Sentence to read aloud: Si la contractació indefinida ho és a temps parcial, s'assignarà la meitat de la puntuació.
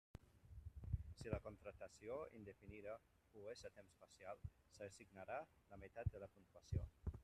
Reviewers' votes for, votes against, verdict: 2, 0, accepted